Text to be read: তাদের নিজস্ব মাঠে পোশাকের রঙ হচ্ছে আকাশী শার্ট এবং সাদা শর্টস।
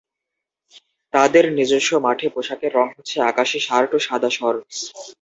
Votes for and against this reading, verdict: 0, 2, rejected